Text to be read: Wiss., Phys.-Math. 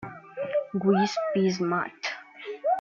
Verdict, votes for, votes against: rejected, 0, 2